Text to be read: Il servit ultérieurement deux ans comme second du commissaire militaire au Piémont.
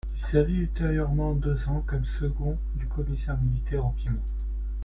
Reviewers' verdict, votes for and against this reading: rejected, 1, 2